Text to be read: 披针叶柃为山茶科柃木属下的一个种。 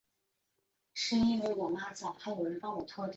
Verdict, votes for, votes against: rejected, 0, 2